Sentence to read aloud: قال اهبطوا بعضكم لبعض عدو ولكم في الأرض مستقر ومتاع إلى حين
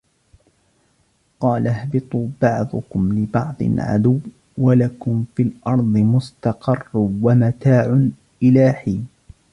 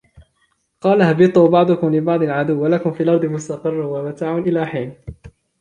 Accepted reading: second